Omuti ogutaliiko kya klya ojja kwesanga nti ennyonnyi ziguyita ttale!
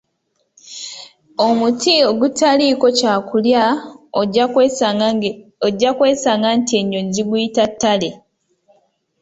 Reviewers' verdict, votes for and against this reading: rejected, 1, 2